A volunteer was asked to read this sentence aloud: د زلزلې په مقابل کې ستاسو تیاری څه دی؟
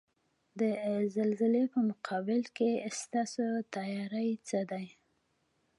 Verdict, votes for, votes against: rejected, 1, 2